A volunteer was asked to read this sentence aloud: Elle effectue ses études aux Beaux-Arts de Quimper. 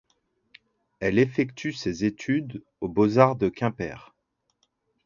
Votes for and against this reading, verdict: 2, 0, accepted